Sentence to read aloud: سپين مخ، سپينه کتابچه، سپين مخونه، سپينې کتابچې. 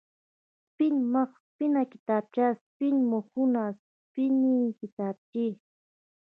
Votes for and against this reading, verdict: 0, 2, rejected